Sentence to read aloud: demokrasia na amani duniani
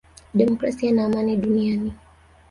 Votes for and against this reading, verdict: 1, 2, rejected